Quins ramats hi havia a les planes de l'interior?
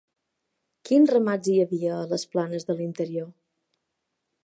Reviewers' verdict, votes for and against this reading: accepted, 3, 0